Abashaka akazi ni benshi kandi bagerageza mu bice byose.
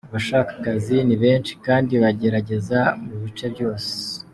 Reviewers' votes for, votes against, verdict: 2, 0, accepted